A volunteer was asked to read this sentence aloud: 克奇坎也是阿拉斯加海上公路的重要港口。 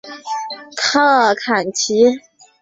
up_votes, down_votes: 0, 2